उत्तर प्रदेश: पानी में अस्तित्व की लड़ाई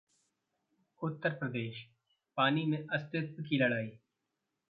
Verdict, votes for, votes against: rejected, 0, 2